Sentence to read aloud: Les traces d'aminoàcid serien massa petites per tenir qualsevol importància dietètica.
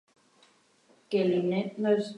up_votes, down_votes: 0, 2